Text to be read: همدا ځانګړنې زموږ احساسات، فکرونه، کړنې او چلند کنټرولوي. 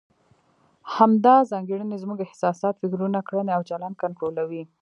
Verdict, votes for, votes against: accepted, 2, 1